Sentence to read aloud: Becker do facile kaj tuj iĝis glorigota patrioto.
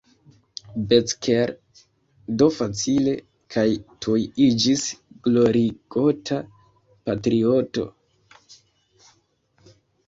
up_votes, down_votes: 0, 2